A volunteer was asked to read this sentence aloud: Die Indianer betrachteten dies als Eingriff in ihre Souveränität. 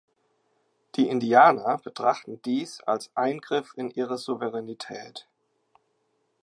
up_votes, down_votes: 2, 3